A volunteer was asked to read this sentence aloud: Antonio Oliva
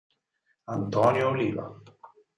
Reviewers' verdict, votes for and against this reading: accepted, 6, 2